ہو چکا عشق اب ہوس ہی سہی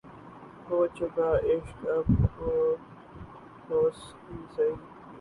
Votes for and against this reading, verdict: 0, 2, rejected